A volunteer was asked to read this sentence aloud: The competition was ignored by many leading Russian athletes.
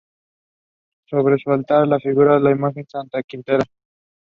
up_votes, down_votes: 2, 0